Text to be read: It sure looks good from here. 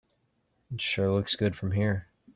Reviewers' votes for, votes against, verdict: 2, 0, accepted